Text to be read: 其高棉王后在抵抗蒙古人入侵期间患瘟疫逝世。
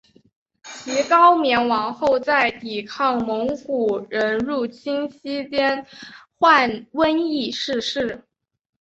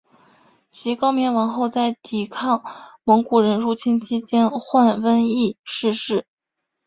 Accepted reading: first